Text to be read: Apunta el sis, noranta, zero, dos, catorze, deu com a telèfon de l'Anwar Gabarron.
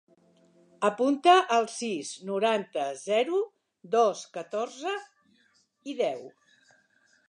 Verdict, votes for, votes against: rejected, 0, 3